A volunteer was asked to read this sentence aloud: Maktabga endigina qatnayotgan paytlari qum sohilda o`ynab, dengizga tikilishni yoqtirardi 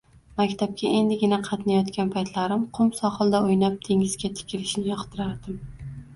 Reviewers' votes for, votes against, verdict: 1, 2, rejected